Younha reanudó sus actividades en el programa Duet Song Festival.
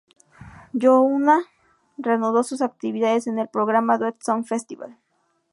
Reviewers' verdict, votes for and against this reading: rejected, 0, 2